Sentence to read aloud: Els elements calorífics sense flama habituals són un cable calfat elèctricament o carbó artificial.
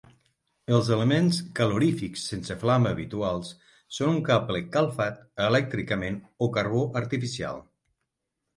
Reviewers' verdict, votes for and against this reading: accepted, 9, 0